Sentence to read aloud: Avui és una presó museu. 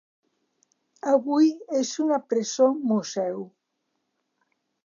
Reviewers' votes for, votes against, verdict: 3, 0, accepted